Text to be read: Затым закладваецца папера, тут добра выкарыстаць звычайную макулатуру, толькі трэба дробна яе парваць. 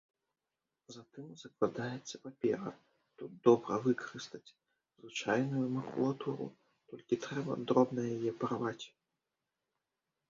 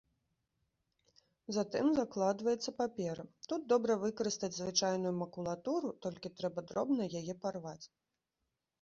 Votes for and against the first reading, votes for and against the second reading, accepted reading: 1, 2, 2, 0, second